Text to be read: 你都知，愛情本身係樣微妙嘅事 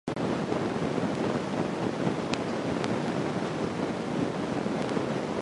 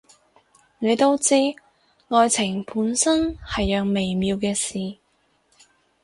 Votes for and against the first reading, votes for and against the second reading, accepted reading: 0, 2, 2, 0, second